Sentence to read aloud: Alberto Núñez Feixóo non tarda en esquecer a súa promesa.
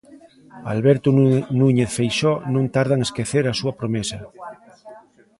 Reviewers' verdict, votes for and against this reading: rejected, 0, 2